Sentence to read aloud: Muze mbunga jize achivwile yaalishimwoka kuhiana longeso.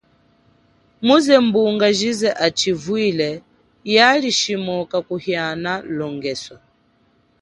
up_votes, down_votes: 2, 0